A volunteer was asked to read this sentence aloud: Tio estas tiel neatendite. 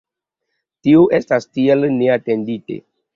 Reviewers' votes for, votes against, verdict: 2, 0, accepted